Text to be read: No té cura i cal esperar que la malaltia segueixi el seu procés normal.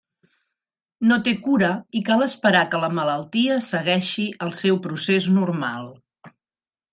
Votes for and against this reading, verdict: 3, 0, accepted